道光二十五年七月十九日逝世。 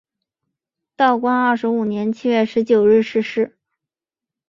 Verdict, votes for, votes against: accepted, 2, 0